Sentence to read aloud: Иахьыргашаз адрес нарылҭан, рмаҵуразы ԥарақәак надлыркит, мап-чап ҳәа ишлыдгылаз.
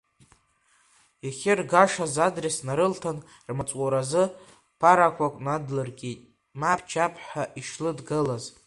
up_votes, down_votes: 0, 2